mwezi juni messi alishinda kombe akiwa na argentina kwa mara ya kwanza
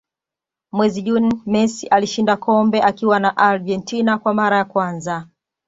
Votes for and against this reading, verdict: 2, 0, accepted